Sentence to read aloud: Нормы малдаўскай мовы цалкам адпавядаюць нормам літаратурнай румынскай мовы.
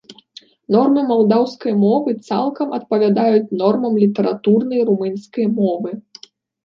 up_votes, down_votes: 2, 0